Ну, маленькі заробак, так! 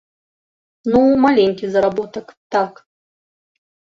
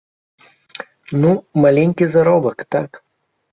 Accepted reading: second